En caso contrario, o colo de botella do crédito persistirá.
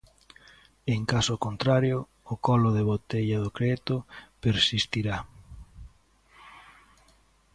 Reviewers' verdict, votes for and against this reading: accepted, 2, 0